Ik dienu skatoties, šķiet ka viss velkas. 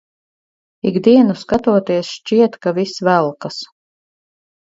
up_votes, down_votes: 2, 2